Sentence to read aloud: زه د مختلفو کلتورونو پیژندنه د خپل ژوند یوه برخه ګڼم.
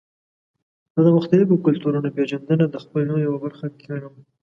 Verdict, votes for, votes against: accepted, 2, 0